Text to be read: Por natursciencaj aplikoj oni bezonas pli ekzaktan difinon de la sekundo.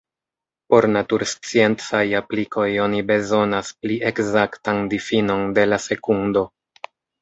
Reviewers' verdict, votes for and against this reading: accepted, 2, 0